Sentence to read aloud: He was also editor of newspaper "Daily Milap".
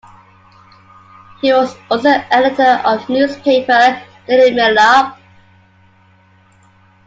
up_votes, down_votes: 1, 2